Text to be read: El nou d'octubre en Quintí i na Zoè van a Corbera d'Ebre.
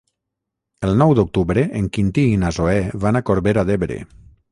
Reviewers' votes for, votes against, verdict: 3, 3, rejected